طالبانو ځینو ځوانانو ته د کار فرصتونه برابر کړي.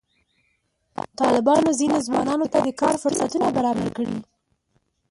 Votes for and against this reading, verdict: 0, 2, rejected